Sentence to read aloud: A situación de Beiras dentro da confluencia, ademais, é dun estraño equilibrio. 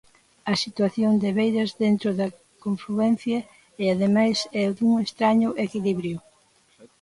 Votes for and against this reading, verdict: 0, 2, rejected